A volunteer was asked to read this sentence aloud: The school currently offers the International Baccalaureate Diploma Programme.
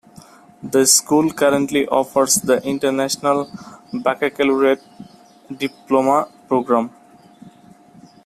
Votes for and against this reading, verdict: 1, 2, rejected